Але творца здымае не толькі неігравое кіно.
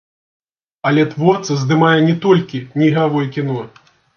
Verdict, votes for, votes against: rejected, 0, 2